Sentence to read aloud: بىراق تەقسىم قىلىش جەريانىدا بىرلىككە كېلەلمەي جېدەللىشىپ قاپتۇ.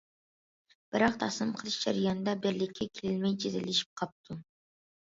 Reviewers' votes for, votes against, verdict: 1, 2, rejected